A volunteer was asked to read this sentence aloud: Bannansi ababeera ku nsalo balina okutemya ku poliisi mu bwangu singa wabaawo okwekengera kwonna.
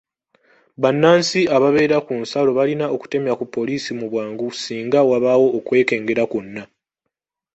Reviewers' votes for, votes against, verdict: 1, 2, rejected